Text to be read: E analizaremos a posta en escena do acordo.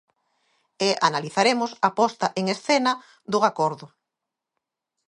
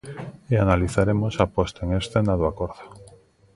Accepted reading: first